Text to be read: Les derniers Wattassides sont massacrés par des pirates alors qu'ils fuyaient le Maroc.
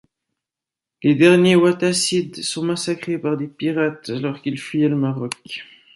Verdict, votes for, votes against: accepted, 2, 0